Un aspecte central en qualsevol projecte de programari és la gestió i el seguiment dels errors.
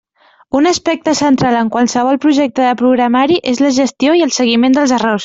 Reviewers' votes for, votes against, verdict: 2, 0, accepted